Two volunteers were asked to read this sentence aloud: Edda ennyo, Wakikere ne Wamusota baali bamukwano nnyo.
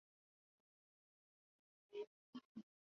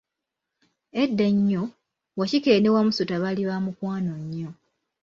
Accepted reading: second